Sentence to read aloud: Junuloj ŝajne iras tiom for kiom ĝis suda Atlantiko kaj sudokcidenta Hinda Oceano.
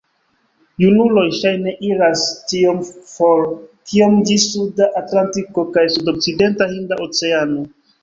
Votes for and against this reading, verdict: 2, 1, accepted